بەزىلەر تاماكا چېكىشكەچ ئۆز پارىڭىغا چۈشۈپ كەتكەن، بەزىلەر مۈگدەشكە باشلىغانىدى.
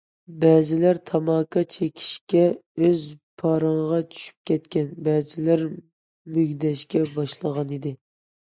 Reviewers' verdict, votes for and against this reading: rejected, 1, 2